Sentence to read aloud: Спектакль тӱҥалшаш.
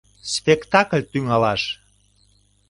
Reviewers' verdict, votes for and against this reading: rejected, 0, 2